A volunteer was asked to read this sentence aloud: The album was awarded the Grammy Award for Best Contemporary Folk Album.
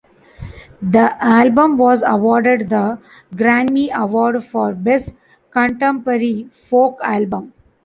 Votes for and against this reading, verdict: 2, 0, accepted